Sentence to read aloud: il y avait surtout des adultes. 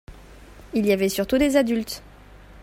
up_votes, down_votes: 2, 0